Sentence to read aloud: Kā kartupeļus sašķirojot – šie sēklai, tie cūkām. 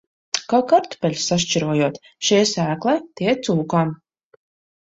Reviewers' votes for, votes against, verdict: 2, 0, accepted